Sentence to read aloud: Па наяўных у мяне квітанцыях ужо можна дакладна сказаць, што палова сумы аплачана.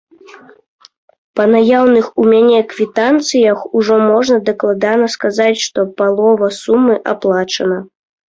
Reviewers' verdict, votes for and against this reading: rejected, 0, 2